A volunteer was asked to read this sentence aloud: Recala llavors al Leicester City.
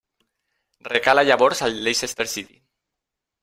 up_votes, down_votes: 2, 0